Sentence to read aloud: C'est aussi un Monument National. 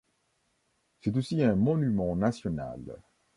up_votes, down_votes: 2, 0